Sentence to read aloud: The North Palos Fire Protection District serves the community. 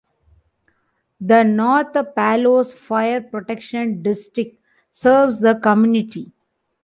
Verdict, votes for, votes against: accepted, 2, 0